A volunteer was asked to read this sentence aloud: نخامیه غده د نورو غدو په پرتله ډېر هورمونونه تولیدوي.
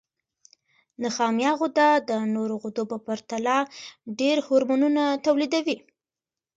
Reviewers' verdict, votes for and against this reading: accepted, 2, 1